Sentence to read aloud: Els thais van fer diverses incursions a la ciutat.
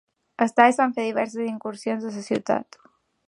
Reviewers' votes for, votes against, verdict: 0, 2, rejected